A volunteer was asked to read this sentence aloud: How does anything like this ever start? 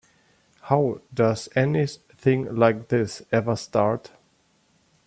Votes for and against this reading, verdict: 1, 2, rejected